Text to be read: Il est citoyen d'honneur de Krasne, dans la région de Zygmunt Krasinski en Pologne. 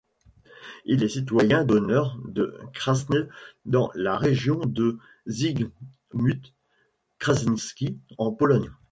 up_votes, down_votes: 1, 2